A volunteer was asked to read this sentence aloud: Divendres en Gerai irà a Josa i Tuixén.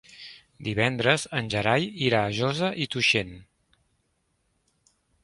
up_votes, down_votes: 2, 0